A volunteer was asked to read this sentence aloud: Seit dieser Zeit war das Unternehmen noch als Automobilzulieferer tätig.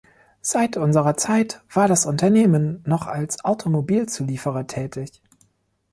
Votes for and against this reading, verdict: 0, 2, rejected